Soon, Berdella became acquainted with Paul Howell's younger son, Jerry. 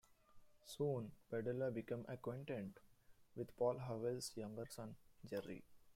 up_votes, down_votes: 2, 1